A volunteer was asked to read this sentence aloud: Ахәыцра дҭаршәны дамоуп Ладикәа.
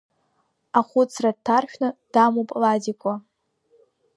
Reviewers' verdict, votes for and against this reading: accepted, 2, 0